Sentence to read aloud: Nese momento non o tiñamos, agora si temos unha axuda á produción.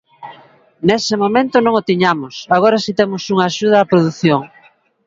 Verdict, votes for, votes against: rejected, 1, 2